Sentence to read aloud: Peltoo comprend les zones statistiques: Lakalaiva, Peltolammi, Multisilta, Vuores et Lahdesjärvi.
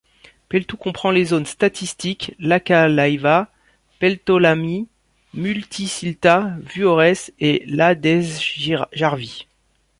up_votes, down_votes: 0, 2